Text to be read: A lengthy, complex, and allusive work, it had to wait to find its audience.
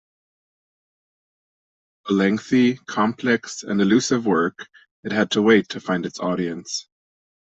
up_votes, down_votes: 2, 0